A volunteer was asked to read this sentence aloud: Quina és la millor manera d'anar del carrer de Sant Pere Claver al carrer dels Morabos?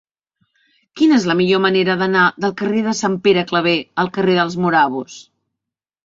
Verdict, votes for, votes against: accepted, 3, 0